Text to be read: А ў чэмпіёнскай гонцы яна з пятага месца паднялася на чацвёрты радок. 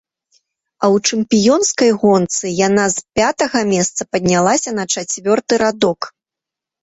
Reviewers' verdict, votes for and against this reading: accepted, 3, 0